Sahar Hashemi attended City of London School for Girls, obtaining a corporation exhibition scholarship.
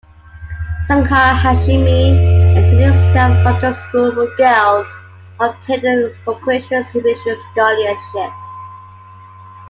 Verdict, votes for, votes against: rejected, 1, 2